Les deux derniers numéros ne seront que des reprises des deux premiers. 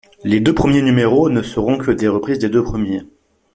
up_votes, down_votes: 0, 2